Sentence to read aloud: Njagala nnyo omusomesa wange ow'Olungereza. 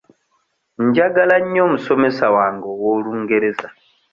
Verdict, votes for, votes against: accepted, 2, 0